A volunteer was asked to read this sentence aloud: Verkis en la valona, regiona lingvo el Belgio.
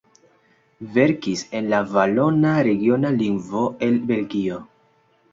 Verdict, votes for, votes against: accepted, 2, 1